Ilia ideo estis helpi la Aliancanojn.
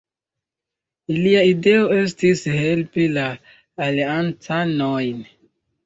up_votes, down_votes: 0, 2